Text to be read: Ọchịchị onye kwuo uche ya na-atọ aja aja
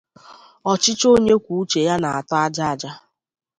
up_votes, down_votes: 2, 0